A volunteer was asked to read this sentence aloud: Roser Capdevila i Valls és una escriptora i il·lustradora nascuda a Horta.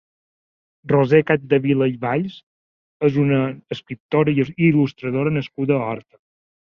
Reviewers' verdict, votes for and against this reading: rejected, 0, 2